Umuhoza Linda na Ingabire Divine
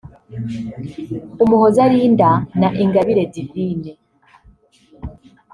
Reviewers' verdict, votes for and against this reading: rejected, 0, 2